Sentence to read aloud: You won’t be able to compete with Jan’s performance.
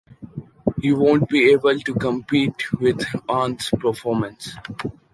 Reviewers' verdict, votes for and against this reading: accepted, 2, 1